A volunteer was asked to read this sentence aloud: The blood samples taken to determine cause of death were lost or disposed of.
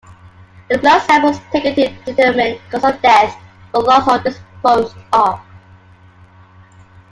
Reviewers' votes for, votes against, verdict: 2, 1, accepted